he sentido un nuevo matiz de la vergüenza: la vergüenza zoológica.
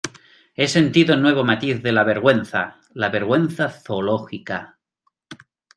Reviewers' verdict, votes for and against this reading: rejected, 1, 2